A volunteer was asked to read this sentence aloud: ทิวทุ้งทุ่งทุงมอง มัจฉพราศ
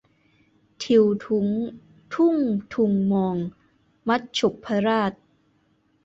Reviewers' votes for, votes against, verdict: 1, 2, rejected